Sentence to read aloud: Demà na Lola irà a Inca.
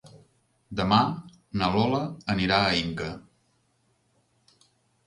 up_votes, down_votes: 0, 2